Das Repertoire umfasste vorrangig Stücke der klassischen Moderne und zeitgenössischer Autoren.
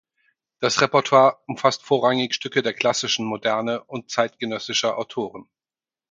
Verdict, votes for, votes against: rejected, 0, 4